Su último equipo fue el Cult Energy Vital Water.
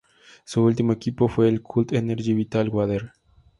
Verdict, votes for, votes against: accepted, 2, 0